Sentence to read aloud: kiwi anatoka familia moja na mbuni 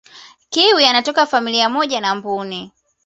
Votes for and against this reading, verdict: 2, 0, accepted